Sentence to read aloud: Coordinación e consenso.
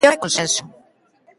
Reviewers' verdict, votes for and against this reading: rejected, 0, 2